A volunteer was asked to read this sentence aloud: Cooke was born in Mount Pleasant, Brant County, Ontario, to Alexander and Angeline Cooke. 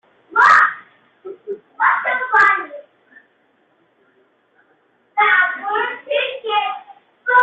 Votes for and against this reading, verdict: 0, 2, rejected